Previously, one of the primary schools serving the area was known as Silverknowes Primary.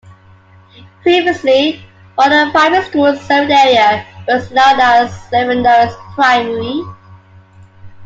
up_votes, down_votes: 0, 2